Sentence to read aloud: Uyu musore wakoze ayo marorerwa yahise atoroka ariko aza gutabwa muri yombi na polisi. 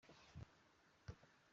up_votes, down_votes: 0, 2